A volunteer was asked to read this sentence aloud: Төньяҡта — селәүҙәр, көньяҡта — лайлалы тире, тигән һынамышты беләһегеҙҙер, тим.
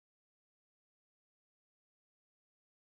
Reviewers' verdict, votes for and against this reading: rejected, 0, 2